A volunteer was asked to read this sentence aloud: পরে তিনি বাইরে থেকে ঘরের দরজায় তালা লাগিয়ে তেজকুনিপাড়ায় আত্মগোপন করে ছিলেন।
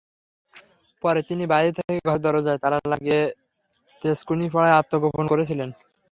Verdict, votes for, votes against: accepted, 3, 0